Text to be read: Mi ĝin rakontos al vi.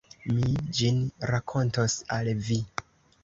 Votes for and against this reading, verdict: 2, 0, accepted